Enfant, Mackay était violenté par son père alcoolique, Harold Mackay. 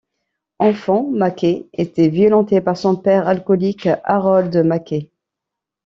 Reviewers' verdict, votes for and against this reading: rejected, 1, 2